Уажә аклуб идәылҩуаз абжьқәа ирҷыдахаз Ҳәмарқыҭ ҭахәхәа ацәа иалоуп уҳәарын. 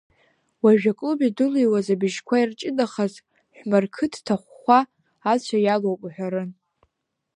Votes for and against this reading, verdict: 1, 2, rejected